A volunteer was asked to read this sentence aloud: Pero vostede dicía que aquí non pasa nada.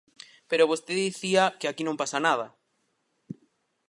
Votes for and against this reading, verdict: 4, 0, accepted